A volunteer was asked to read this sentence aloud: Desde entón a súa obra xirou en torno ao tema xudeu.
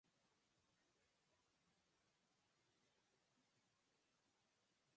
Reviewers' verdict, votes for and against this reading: rejected, 0, 6